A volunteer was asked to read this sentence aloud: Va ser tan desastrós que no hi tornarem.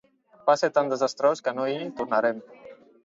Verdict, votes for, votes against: accepted, 2, 0